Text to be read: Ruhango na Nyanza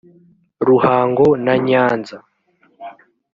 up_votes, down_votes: 0, 2